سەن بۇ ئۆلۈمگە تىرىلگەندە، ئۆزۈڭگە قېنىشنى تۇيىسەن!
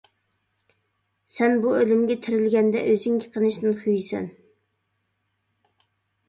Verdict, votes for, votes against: rejected, 1, 2